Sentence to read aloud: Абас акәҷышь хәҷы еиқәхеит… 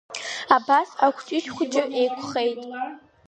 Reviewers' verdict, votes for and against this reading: accepted, 2, 0